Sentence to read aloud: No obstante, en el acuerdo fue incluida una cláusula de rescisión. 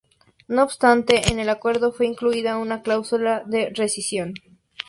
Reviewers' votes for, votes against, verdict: 2, 2, rejected